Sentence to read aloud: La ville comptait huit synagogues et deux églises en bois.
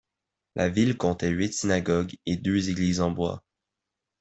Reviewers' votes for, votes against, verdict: 2, 0, accepted